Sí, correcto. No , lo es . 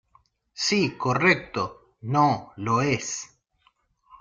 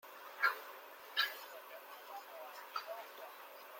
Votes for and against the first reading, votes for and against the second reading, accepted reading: 2, 0, 0, 2, first